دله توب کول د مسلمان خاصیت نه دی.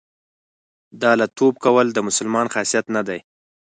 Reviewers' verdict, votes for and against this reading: accepted, 4, 0